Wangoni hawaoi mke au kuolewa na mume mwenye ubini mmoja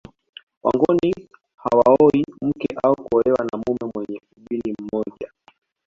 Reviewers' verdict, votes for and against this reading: rejected, 1, 2